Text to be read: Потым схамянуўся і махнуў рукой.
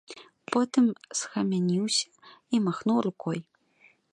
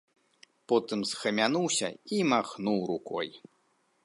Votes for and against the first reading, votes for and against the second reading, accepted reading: 1, 2, 2, 0, second